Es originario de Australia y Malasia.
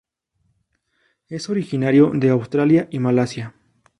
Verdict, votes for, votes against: accepted, 2, 0